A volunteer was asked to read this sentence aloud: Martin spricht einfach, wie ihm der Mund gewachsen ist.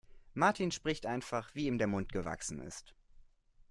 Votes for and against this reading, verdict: 3, 0, accepted